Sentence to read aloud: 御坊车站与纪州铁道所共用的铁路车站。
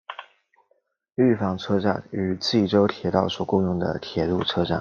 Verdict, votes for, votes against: accepted, 2, 0